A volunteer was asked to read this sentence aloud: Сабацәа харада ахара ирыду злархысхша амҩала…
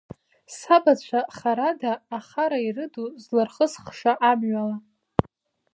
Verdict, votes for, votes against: rejected, 0, 2